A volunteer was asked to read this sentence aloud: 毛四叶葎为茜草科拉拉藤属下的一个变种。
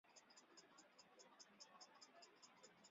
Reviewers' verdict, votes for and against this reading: rejected, 1, 5